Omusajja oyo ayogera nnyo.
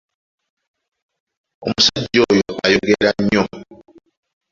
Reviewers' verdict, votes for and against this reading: accepted, 2, 1